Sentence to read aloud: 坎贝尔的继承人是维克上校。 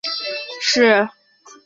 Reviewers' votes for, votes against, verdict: 0, 4, rejected